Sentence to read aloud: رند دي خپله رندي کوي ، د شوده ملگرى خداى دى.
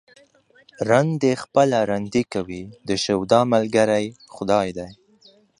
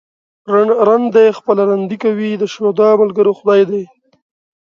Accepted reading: first